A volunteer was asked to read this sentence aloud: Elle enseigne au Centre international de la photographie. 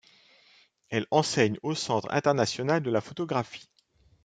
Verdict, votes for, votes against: accepted, 2, 0